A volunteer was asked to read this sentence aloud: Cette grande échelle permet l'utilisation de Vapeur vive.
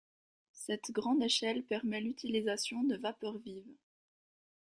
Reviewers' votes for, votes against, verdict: 1, 2, rejected